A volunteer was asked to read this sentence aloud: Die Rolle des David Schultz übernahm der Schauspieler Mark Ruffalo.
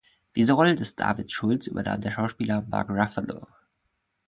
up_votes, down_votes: 0, 2